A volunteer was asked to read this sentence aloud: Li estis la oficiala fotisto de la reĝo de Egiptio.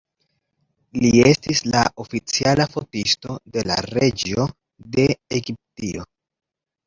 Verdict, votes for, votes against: rejected, 1, 2